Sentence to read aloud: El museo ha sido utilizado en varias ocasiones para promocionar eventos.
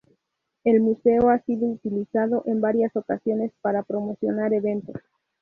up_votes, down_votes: 2, 0